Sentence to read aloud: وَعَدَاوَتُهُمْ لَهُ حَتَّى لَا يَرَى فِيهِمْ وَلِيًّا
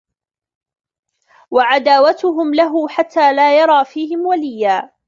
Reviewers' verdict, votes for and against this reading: rejected, 1, 2